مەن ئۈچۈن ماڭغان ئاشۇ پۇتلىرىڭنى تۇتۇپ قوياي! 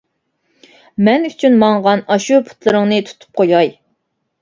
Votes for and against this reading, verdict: 2, 0, accepted